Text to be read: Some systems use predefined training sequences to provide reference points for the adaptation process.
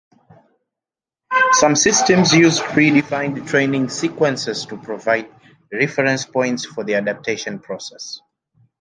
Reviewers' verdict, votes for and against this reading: accepted, 2, 0